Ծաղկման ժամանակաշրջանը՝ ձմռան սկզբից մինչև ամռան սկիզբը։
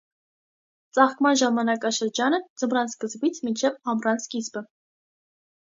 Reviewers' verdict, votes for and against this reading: accepted, 2, 0